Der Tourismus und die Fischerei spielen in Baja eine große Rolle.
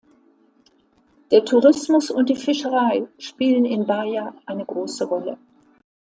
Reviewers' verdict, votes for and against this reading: accepted, 2, 0